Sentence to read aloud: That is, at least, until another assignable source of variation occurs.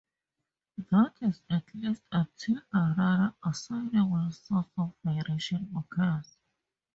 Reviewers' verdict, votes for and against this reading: rejected, 0, 2